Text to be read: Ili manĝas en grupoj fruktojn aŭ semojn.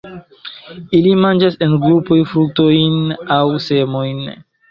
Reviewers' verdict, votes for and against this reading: accepted, 2, 1